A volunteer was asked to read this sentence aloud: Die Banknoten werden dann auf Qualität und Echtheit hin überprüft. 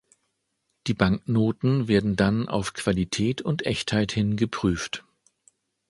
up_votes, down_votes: 0, 2